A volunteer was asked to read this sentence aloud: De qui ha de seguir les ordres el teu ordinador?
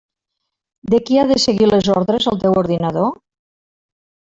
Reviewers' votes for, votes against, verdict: 1, 2, rejected